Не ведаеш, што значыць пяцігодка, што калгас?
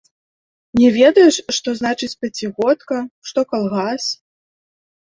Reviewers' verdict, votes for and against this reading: accepted, 2, 0